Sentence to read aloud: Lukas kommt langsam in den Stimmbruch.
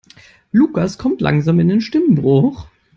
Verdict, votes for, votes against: accepted, 2, 0